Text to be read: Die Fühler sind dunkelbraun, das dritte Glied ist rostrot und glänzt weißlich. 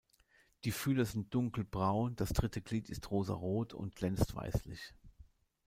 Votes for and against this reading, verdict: 0, 2, rejected